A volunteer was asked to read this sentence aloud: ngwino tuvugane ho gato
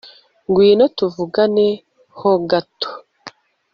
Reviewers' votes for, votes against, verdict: 2, 0, accepted